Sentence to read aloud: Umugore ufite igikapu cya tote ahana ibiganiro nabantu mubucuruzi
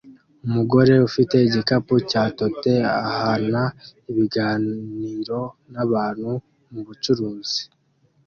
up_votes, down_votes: 2, 0